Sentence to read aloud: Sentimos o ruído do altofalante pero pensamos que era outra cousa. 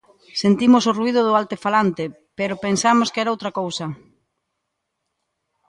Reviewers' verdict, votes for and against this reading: rejected, 1, 2